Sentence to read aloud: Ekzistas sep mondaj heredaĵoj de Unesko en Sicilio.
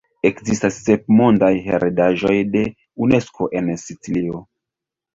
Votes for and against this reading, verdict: 1, 2, rejected